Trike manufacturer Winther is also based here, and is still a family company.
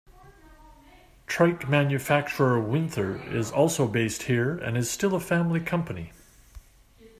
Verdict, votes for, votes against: accepted, 2, 1